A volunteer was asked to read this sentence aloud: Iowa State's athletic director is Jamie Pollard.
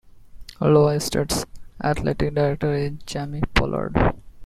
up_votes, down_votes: 1, 2